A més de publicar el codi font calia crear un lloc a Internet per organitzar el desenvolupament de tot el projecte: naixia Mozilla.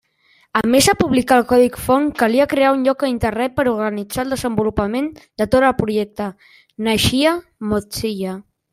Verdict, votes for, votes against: rejected, 1, 2